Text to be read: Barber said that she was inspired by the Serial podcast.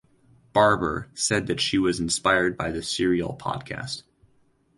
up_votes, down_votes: 2, 0